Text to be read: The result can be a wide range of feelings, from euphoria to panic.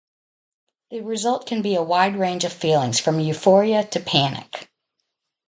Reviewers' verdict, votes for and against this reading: rejected, 0, 2